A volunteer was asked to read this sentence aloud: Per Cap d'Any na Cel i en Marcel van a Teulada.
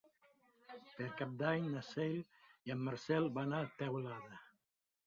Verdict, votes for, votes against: accepted, 2, 0